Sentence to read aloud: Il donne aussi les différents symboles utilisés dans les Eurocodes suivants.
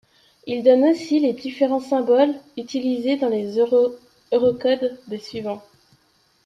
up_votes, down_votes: 0, 2